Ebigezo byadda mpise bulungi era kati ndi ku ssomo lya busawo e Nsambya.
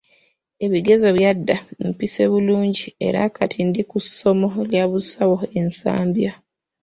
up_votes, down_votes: 2, 0